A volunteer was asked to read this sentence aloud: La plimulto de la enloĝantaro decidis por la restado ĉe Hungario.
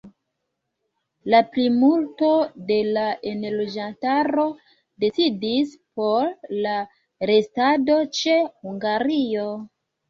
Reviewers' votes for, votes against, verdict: 2, 1, accepted